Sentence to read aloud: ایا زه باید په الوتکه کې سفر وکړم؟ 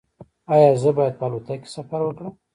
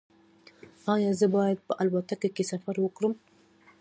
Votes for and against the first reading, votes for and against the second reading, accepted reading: 0, 2, 2, 0, second